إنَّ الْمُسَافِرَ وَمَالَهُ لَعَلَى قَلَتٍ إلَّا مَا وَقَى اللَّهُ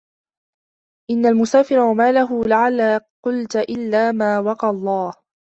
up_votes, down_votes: 0, 2